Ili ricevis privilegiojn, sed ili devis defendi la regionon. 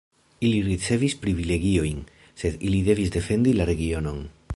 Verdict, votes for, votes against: accepted, 3, 0